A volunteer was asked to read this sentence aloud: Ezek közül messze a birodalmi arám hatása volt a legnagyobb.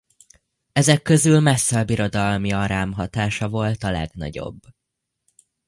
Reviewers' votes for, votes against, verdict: 2, 0, accepted